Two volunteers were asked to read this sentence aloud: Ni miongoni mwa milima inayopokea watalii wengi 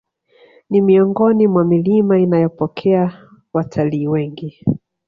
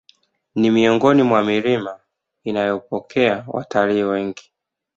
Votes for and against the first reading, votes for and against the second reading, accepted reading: 1, 2, 2, 1, second